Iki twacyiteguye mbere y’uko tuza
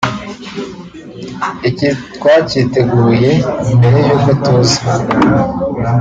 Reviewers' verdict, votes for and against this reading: accepted, 2, 0